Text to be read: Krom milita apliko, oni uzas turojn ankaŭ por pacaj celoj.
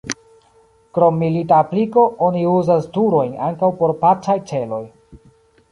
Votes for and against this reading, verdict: 1, 2, rejected